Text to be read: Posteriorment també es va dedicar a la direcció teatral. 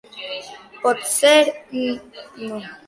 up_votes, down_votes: 0, 2